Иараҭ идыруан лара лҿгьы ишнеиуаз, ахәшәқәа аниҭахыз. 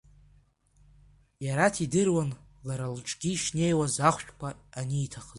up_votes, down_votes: 1, 2